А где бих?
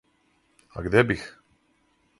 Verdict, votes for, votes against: accepted, 4, 0